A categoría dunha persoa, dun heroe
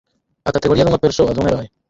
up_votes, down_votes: 2, 4